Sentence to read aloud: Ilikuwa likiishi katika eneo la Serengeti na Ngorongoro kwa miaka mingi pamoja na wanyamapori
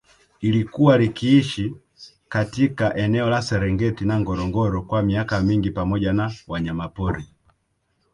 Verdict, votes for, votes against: rejected, 0, 2